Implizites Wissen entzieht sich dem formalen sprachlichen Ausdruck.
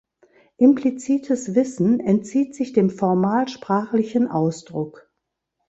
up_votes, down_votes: 1, 2